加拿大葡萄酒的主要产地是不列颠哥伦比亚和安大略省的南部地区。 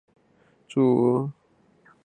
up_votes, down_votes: 0, 5